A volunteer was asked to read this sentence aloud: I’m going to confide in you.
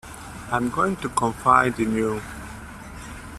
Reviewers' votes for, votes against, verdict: 2, 0, accepted